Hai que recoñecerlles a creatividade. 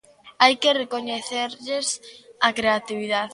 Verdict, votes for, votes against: rejected, 1, 2